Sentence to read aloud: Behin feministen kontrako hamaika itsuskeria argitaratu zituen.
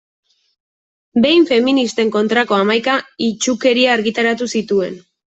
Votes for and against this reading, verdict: 0, 2, rejected